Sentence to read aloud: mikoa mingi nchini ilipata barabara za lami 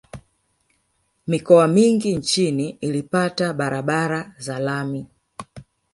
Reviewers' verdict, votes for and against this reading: rejected, 0, 2